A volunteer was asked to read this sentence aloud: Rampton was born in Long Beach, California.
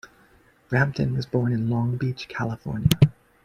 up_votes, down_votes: 2, 3